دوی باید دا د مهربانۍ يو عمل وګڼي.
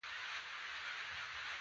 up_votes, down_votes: 0, 2